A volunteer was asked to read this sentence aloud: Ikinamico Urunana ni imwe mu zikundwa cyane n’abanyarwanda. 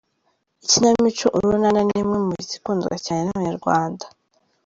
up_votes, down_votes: 2, 0